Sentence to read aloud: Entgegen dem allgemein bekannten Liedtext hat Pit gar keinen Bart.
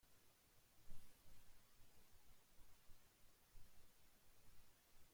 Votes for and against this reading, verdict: 0, 2, rejected